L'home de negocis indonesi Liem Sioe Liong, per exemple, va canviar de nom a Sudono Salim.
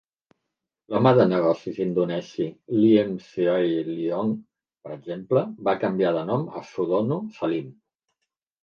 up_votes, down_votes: 2, 1